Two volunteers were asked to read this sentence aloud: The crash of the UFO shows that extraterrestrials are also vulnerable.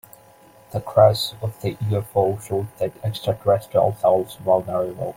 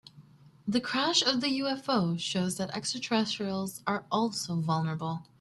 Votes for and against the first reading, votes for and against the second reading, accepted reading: 1, 2, 2, 0, second